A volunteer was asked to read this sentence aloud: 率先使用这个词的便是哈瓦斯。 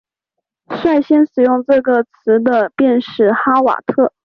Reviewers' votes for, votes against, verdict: 1, 2, rejected